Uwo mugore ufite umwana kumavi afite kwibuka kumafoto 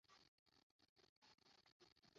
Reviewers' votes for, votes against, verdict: 0, 2, rejected